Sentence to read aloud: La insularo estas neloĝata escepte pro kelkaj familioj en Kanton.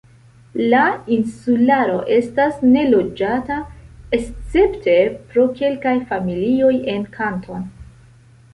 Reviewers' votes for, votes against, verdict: 2, 1, accepted